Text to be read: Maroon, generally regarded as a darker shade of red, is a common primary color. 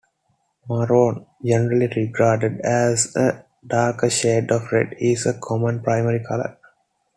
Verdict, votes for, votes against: accepted, 2, 0